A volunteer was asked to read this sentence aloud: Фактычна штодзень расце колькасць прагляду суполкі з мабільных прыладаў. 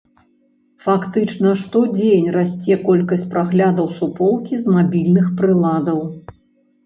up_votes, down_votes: 0, 2